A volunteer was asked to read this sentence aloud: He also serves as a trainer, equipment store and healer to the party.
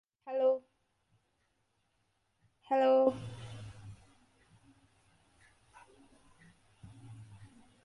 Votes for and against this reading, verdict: 0, 2, rejected